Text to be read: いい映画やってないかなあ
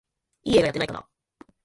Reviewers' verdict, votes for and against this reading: rejected, 1, 2